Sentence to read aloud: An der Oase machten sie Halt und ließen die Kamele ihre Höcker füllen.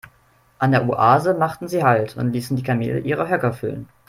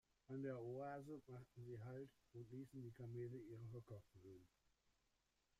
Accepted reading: first